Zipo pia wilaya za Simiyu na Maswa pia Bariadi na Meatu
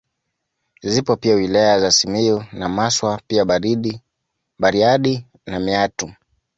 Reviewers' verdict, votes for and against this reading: rejected, 1, 2